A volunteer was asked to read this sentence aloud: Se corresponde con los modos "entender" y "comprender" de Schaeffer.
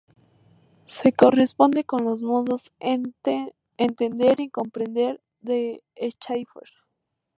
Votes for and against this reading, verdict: 0, 2, rejected